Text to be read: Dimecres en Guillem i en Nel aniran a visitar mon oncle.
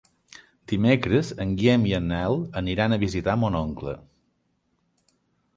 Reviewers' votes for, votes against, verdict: 3, 0, accepted